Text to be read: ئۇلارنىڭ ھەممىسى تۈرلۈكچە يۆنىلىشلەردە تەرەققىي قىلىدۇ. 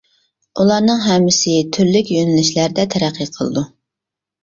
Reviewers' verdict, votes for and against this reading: rejected, 0, 2